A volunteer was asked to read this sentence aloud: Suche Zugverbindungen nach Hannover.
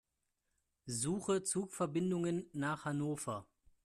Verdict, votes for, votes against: accepted, 2, 0